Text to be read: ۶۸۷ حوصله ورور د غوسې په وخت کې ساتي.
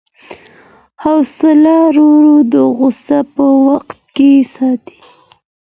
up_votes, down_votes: 0, 2